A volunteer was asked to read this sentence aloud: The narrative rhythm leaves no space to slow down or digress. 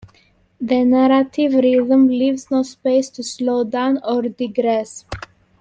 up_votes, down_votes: 2, 1